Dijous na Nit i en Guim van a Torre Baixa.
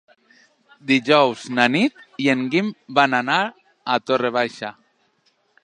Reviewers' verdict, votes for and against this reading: rejected, 1, 2